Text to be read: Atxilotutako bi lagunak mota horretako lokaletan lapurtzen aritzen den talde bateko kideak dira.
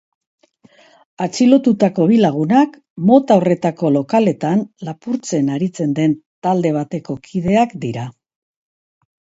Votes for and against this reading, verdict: 2, 0, accepted